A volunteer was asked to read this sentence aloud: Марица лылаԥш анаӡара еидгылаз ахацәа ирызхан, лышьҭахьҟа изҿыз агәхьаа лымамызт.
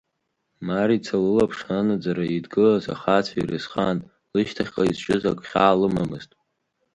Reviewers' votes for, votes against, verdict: 4, 1, accepted